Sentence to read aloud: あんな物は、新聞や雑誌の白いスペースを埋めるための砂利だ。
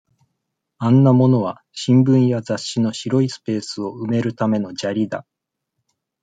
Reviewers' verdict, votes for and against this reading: accepted, 2, 0